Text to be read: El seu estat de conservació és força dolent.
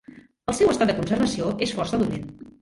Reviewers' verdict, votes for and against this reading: rejected, 1, 2